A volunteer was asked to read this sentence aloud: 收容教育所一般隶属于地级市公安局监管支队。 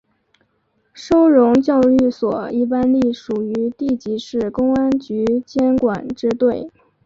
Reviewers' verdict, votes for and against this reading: accepted, 5, 0